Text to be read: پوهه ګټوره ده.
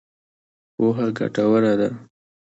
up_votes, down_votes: 2, 1